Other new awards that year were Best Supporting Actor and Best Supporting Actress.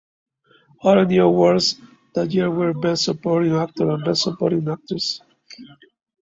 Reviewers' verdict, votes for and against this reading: accepted, 2, 0